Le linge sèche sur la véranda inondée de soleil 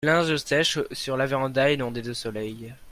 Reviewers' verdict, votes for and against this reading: rejected, 0, 2